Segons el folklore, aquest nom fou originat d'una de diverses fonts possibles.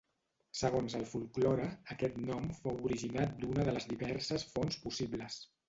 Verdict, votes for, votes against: rejected, 1, 2